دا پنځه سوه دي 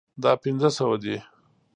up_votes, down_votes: 2, 0